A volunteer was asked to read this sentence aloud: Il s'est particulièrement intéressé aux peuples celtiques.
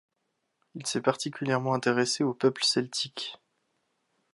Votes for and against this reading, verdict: 2, 0, accepted